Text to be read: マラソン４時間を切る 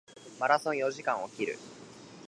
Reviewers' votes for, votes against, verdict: 0, 2, rejected